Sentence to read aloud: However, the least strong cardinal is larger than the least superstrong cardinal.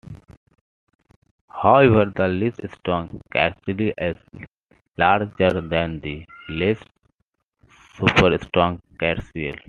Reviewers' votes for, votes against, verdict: 0, 2, rejected